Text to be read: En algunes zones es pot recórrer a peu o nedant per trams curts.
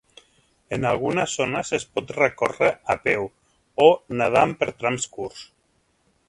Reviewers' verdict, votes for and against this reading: accepted, 3, 0